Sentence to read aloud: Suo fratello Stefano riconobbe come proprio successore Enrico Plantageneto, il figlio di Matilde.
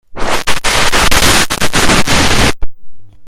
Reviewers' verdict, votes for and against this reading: rejected, 0, 2